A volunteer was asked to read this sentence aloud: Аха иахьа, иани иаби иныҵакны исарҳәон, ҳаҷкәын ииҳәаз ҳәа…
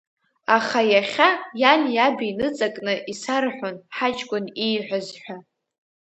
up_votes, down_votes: 2, 1